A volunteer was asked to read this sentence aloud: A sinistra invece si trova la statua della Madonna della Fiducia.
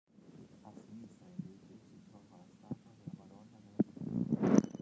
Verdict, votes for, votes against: rejected, 1, 2